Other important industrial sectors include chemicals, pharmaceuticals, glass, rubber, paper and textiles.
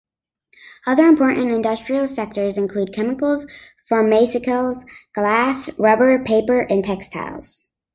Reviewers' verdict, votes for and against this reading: rejected, 0, 2